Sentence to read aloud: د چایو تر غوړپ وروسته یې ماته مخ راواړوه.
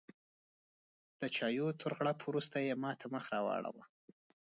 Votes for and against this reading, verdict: 2, 0, accepted